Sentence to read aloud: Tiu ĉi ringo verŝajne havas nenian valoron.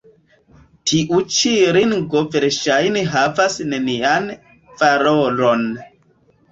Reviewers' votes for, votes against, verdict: 1, 2, rejected